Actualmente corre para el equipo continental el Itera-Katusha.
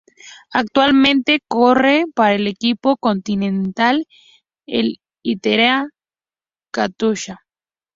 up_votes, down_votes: 0, 2